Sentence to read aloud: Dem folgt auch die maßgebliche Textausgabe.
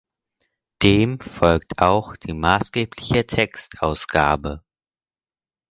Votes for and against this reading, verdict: 4, 0, accepted